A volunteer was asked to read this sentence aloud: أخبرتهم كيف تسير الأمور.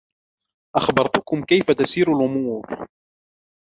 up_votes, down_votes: 0, 2